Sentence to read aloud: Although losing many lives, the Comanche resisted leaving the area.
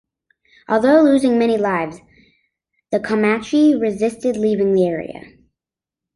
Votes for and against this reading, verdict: 2, 1, accepted